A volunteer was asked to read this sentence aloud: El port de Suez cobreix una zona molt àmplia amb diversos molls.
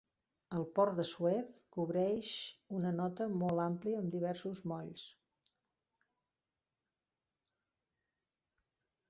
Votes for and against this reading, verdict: 1, 2, rejected